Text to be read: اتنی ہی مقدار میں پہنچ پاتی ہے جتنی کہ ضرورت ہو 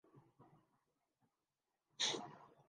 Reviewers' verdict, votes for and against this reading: rejected, 0, 3